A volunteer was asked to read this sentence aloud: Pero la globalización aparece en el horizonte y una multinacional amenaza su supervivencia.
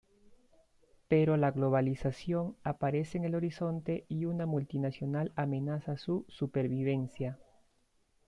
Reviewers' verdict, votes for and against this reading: accepted, 2, 0